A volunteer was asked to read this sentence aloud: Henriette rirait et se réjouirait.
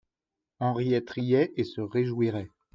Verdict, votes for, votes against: rejected, 1, 2